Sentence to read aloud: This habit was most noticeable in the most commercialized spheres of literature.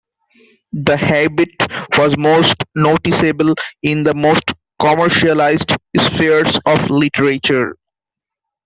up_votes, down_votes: 0, 2